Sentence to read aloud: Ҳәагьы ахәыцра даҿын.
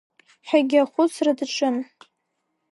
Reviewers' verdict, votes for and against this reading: rejected, 1, 2